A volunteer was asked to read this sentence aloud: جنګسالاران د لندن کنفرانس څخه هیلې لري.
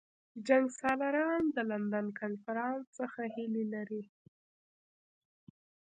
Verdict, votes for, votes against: rejected, 1, 2